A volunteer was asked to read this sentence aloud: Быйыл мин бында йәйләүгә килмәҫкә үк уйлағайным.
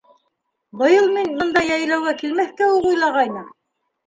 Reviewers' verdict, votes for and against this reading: rejected, 1, 2